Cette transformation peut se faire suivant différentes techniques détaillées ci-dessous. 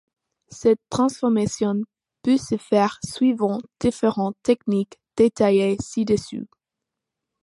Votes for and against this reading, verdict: 2, 0, accepted